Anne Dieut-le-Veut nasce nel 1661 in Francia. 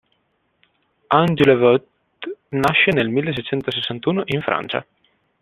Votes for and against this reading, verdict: 0, 2, rejected